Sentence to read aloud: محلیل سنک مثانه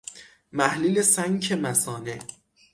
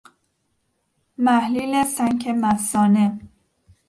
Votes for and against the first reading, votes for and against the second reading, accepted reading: 3, 3, 2, 0, second